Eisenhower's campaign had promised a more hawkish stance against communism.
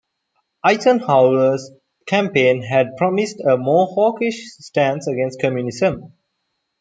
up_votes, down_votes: 2, 0